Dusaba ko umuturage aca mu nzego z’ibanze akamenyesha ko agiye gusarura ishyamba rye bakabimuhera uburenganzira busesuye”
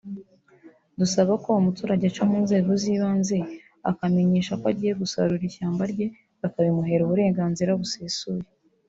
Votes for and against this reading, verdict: 1, 2, rejected